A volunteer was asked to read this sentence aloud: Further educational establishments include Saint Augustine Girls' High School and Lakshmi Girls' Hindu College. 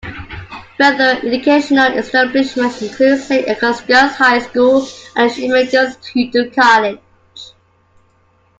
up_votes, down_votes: 0, 2